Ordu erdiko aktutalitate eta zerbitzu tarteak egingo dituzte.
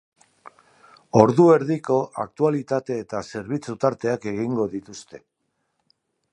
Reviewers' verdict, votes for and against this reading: accepted, 2, 0